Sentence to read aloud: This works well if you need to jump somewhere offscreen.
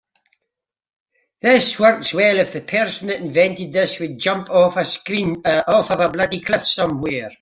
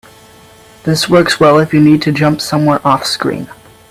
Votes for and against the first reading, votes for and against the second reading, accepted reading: 0, 2, 2, 0, second